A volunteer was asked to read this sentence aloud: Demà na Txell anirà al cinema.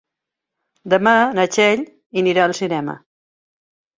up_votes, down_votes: 1, 2